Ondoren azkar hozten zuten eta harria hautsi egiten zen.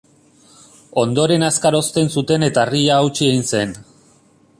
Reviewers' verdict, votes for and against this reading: rejected, 0, 2